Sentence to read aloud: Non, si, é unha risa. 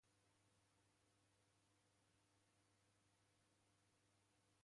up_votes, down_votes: 0, 2